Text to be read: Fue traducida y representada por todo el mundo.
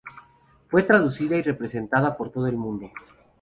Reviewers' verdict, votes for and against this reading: accepted, 4, 0